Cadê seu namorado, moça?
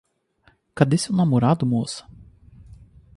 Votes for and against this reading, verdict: 2, 2, rejected